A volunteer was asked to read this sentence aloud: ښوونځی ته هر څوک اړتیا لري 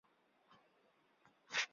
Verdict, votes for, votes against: rejected, 1, 2